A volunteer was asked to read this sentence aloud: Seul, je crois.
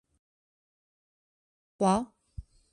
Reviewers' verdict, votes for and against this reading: rejected, 0, 2